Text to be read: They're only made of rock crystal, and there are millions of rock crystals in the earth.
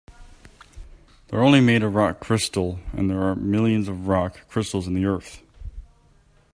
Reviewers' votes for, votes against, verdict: 3, 0, accepted